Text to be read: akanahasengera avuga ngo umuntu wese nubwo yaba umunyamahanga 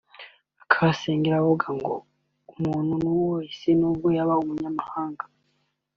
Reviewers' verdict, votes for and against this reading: rejected, 2, 4